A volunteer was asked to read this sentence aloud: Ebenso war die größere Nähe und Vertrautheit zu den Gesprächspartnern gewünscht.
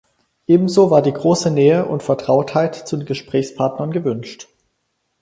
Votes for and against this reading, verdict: 2, 4, rejected